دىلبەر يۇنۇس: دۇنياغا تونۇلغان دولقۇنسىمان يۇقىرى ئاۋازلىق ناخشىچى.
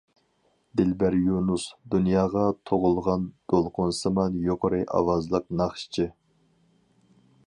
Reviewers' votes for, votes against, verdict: 2, 2, rejected